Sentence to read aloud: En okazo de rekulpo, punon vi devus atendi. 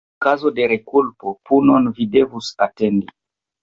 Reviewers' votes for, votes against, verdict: 0, 2, rejected